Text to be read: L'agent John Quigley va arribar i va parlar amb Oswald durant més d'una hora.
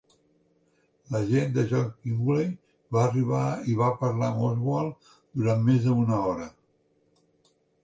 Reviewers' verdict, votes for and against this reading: rejected, 1, 3